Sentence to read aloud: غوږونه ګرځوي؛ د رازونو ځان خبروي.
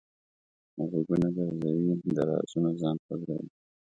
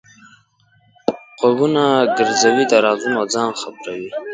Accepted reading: first